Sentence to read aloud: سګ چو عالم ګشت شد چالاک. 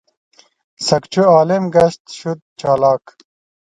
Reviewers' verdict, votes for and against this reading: rejected, 0, 2